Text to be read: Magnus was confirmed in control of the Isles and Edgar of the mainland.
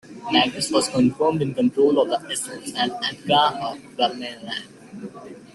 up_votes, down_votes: 1, 2